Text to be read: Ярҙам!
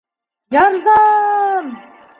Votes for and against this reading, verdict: 1, 2, rejected